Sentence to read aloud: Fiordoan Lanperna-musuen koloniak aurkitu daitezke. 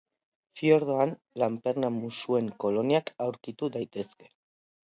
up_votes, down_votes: 2, 0